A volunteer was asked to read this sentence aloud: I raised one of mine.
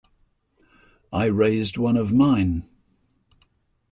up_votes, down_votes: 2, 0